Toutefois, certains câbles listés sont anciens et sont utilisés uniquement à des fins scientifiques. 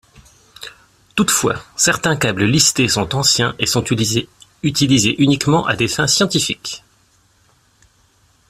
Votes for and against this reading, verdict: 1, 2, rejected